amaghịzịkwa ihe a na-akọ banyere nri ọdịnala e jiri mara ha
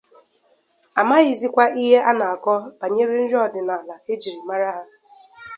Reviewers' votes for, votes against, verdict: 2, 0, accepted